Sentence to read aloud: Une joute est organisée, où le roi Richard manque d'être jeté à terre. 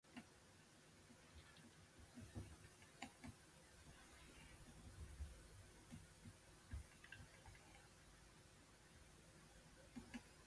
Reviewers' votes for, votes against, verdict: 1, 2, rejected